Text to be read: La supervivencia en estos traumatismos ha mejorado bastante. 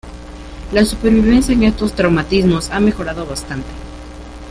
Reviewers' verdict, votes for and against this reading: accepted, 2, 0